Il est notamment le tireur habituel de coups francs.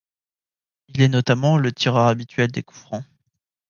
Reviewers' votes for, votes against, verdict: 0, 2, rejected